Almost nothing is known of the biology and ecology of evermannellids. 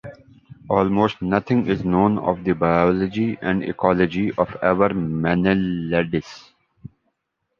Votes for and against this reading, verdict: 1, 2, rejected